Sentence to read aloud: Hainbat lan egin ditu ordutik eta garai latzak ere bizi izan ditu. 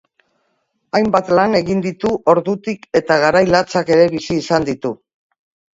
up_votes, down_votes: 2, 0